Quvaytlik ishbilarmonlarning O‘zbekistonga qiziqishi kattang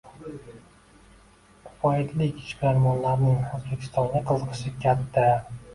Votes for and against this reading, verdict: 2, 1, accepted